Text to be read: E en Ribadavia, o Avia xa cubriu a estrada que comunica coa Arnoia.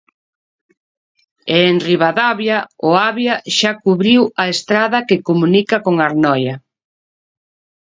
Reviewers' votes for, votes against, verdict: 1, 2, rejected